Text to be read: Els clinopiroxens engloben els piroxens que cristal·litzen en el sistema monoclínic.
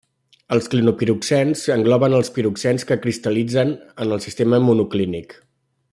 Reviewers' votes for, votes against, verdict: 3, 0, accepted